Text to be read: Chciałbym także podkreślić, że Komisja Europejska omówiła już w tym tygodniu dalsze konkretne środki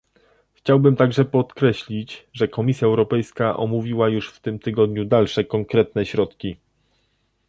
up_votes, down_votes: 2, 0